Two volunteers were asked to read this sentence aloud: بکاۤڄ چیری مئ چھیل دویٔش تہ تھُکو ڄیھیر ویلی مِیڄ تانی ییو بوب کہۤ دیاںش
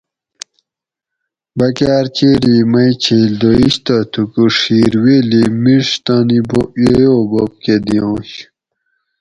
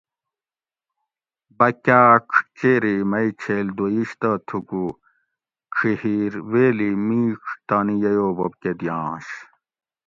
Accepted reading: second